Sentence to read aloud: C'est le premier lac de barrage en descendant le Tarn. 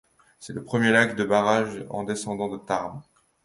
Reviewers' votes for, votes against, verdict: 2, 0, accepted